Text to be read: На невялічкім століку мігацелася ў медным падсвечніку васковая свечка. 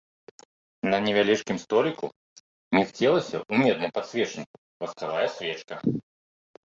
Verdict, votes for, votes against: rejected, 0, 2